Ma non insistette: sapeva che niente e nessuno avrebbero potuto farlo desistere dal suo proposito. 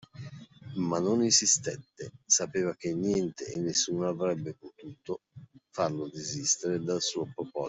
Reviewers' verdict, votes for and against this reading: rejected, 1, 2